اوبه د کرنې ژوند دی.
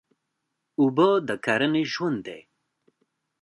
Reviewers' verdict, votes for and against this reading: accepted, 2, 0